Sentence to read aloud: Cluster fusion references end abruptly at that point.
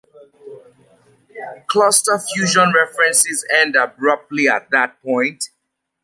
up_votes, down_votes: 2, 0